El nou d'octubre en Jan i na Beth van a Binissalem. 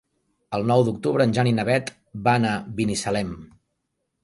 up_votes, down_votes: 4, 0